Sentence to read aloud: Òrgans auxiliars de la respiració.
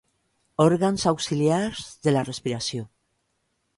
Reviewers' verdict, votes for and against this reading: accepted, 2, 0